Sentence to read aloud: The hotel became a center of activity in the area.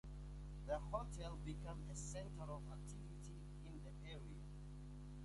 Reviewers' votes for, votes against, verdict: 2, 0, accepted